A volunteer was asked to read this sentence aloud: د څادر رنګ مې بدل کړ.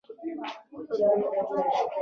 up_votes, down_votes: 1, 2